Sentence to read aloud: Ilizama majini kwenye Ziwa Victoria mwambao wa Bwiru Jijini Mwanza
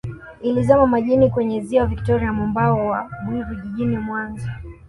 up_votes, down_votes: 2, 0